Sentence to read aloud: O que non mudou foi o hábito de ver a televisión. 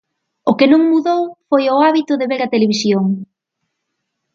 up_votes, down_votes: 4, 0